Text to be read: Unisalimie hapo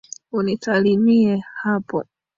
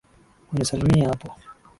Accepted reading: second